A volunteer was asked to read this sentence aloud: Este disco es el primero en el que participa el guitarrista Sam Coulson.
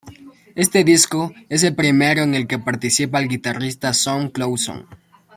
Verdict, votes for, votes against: rejected, 1, 2